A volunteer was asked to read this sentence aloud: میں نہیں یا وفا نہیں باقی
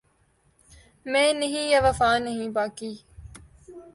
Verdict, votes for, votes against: accepted, 4, 0